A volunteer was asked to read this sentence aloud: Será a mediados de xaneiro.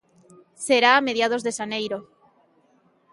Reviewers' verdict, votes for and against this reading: accepted, 2, 0